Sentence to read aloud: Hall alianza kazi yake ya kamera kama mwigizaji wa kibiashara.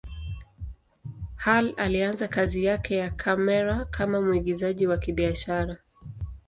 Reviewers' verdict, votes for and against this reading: accepted, 2, 0